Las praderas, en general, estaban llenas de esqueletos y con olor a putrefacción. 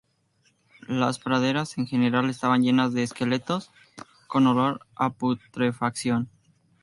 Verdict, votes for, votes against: rejected, 0, 2